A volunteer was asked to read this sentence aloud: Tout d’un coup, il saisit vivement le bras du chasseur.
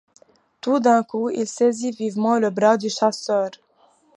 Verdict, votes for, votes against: accepted, 2, 0